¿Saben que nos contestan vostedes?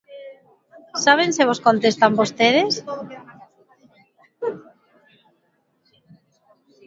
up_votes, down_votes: 1, 2